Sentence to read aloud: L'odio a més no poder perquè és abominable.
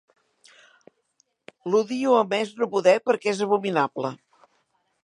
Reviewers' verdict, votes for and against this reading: accepted, 2, 0